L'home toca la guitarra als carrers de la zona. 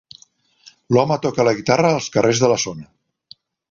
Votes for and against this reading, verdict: 2, 0, accepted